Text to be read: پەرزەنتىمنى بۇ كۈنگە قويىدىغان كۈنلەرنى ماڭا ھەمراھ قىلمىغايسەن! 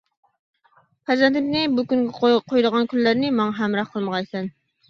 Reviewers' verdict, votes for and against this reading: accepted, 2, 1